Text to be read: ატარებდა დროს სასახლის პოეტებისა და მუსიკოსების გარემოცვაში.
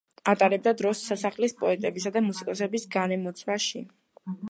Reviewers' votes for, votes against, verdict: 2, 1, accepted